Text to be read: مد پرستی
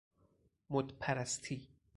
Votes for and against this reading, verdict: 4, 0, accepted